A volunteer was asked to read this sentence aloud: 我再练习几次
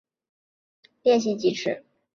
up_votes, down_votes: 2, 3